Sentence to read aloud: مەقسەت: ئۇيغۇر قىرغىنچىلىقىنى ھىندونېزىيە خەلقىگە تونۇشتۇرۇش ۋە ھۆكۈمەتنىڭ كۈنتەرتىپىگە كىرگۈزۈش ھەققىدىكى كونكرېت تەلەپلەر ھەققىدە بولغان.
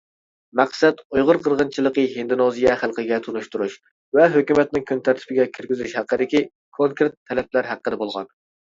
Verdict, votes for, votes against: rejected, 0, 2